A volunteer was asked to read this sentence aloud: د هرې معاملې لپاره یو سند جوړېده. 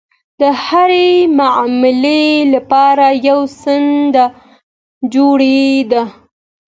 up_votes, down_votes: 2, 0